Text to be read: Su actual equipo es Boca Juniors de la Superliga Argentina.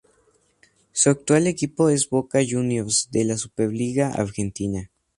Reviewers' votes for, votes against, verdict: 2, 0, accepted